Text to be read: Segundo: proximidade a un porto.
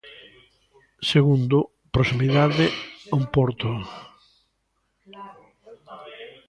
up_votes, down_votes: 1, 2